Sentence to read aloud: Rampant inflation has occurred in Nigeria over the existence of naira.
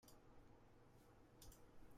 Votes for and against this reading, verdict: 0, 2, rejected